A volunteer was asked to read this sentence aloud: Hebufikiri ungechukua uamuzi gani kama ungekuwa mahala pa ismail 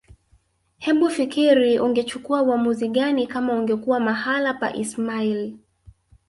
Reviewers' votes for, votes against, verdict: 0, 3, rejected